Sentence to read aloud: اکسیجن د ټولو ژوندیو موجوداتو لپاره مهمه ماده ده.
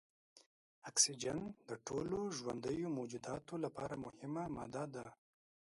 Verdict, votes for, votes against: accepted, 2, 0